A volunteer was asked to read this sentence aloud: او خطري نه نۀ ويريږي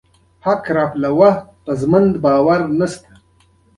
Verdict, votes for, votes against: accepted, 2, 1